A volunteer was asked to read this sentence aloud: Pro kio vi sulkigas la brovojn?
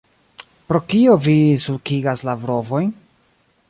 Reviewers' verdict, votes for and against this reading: rejected, 1, 2